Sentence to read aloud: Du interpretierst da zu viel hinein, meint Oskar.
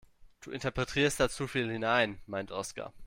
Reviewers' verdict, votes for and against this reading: rejected, 1, 2